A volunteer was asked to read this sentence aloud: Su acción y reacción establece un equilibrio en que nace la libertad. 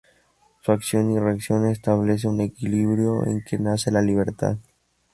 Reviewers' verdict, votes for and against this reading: rejected, 0, 2